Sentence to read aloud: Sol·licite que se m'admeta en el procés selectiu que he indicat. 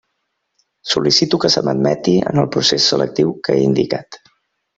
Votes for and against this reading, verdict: 0, 2, rejected